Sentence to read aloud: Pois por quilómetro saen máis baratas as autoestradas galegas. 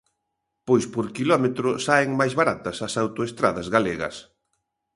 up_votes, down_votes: 2, 0